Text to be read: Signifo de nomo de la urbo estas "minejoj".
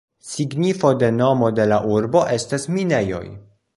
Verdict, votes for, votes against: accepted, 2, 0